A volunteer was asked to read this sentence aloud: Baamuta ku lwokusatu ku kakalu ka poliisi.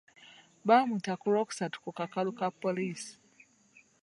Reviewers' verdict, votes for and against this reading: rejected, 0, 2